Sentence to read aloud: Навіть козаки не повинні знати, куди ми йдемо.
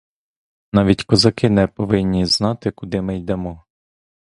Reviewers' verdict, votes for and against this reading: accepted, 2, 0